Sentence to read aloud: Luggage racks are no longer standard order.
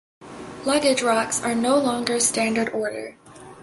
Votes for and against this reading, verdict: 2, 0, accepted